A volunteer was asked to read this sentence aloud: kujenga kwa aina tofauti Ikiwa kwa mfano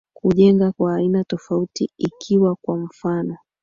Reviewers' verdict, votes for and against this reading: rejected, 2, 3